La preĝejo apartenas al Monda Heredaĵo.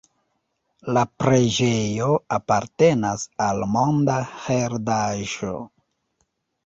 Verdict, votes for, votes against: rejected, 1, 2